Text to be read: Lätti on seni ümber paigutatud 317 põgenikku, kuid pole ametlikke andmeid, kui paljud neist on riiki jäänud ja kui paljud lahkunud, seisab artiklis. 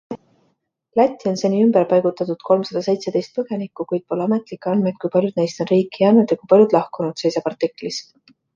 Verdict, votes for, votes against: rejected, 0, 2